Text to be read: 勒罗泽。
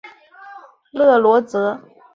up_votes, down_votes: 0, 2